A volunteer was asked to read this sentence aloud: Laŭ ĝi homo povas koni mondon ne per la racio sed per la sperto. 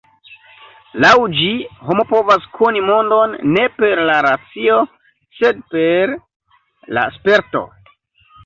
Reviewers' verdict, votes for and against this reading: accepted, 2, 0